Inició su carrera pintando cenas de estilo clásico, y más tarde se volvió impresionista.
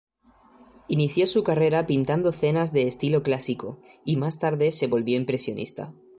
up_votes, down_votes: 2, 0